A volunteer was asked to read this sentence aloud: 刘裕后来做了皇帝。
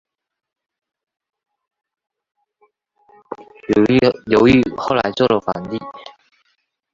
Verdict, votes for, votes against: rejected, 2, 2